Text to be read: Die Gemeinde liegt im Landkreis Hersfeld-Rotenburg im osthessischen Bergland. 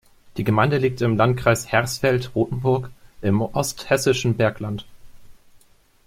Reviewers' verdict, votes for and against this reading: accepted, 2, 0